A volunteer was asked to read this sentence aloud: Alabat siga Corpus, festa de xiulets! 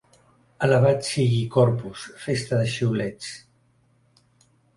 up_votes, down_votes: 3, 4